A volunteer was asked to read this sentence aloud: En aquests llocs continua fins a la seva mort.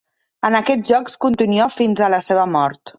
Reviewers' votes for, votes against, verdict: 1, 2, rejected